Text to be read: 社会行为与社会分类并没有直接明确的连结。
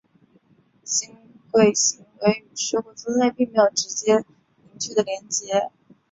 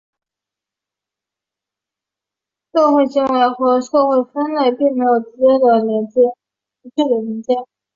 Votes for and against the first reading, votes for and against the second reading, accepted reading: 4, 1, 1, 2, first